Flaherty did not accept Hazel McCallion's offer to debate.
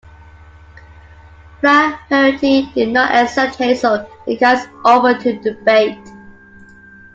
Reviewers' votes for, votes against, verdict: 0, 2, rejected